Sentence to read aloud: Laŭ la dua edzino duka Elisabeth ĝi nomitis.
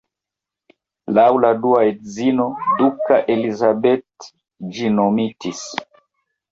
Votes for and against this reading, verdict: 1, 2, rejected